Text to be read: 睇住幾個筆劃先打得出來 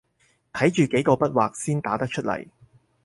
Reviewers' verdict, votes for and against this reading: accepted, 4, 0